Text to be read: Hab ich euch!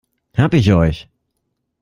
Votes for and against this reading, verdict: 2, 1, accepted